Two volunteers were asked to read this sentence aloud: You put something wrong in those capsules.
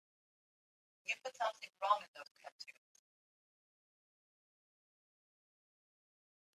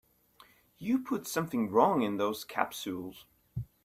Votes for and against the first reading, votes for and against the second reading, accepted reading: 1, 2, 2, 0, second